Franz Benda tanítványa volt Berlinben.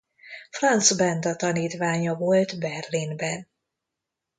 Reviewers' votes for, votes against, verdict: 2, 0, accepted